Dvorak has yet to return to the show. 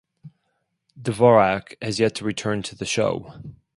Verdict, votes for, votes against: accepted, 6, 0